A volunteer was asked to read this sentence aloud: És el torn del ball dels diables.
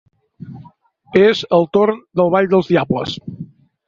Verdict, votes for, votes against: accepted, 2, 0